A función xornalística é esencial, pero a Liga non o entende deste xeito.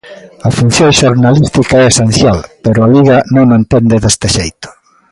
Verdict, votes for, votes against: rejected, 1, 2